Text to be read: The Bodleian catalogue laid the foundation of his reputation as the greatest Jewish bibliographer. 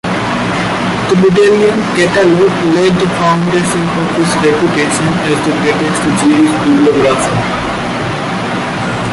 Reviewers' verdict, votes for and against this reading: rejected, 1, 2